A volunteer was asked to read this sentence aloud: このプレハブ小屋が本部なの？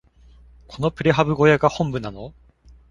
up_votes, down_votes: 2, 0